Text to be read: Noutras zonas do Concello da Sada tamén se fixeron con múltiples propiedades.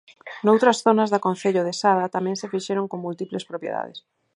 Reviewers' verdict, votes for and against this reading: accepted, 4, 0